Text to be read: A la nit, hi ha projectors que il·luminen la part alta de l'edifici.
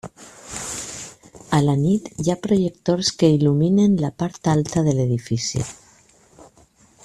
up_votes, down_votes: 1, 2